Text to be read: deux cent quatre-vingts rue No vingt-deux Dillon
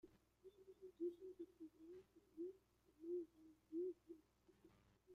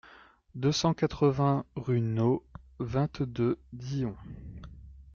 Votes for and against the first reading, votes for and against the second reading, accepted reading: 0, 2, 2, 1, second